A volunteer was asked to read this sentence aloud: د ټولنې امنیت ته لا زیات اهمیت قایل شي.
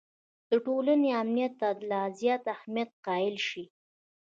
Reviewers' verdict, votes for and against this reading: rejected, 1, 2